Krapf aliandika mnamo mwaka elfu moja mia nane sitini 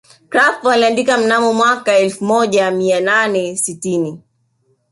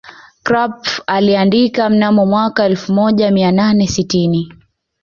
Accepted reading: second